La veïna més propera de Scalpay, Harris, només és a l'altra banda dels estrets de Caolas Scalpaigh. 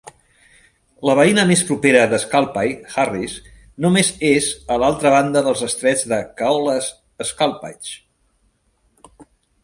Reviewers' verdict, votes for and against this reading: accepted, 2, 0